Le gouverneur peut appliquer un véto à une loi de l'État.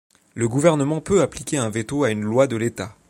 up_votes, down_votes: 0, 2